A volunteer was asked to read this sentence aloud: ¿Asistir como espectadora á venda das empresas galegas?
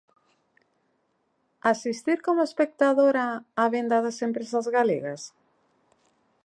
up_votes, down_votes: 2, 0